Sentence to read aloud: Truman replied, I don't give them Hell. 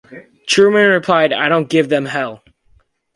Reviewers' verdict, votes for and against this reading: accepted, 2, 0